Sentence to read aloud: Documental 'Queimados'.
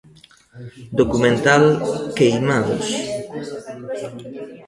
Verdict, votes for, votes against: rejected, 1, 2